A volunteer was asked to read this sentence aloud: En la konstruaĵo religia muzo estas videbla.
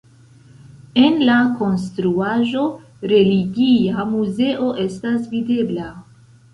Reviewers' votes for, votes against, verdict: 2, 0, accepted